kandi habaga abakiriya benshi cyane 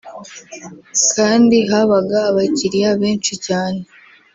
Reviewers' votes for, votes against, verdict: 2, 0, accepted